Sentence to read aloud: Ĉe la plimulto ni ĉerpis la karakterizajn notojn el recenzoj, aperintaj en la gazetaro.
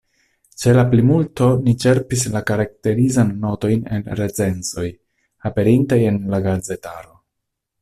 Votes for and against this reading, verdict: 2, 1, accepted